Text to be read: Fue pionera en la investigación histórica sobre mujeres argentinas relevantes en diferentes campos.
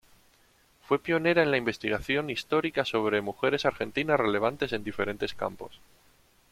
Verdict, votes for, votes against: accepted, 2, 0